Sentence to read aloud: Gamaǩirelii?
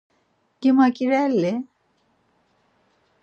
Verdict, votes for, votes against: rejected, 0, 4